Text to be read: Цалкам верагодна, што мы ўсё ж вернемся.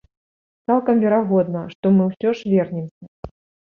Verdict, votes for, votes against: rejected, 1, 2